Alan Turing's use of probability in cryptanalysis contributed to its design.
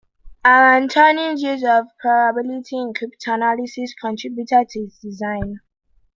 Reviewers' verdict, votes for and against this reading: rejected, 1, 2